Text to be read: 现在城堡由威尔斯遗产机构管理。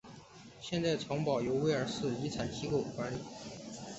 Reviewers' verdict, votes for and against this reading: accepted, 3, 1